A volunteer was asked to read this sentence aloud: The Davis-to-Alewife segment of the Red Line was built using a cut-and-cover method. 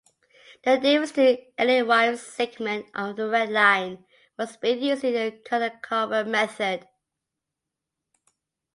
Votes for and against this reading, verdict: 0, 2, rejected